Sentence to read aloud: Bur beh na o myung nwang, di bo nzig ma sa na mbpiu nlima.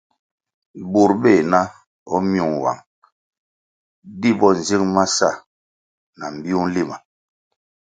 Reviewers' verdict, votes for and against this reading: accepted, 2, 0